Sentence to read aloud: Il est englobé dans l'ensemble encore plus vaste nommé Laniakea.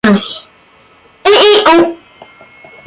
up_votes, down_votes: 0, 2